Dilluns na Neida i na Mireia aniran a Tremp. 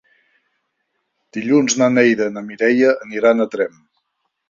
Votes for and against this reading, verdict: 3, 0, accepted